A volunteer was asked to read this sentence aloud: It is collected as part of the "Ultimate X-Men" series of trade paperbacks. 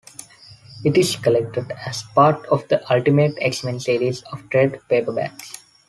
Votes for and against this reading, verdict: 2, 0, accepted